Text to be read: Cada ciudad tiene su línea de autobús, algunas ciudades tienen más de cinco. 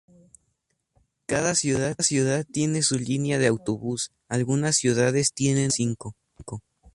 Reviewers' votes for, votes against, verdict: 0, 2, rejected